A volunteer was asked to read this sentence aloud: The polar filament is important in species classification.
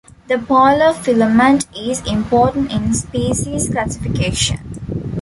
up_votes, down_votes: 2, 0